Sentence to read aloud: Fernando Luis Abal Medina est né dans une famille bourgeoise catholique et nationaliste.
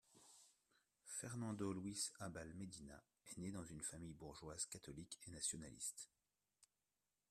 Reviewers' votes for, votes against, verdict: 1, 2, rejected